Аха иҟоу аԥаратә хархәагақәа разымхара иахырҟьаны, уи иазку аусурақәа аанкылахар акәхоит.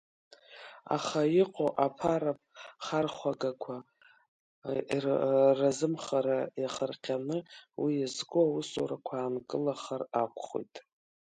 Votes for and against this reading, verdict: 0, 2, rejected